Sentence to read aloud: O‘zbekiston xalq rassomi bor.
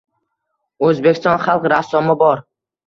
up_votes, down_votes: 2, 0